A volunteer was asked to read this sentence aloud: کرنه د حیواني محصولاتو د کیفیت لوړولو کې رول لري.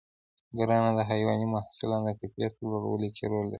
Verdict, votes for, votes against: accepted, 2, 1